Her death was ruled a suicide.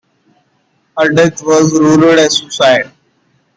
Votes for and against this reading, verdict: 0, 2, rejected